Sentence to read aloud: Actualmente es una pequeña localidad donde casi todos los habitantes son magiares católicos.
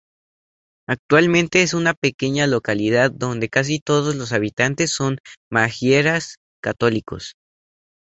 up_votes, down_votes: 2, 0